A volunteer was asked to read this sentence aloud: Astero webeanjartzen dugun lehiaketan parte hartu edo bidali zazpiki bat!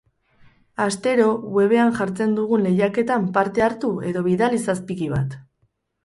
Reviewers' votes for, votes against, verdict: 2, 2, rejected